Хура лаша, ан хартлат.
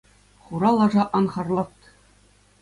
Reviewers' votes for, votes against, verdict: 2, 0, accepted